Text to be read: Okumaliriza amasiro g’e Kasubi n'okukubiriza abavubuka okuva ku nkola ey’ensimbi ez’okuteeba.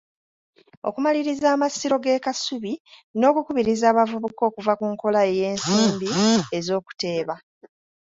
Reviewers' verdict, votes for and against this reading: accepted, 2, 0